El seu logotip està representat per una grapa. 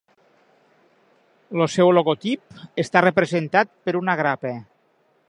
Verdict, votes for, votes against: rejected, 1, 2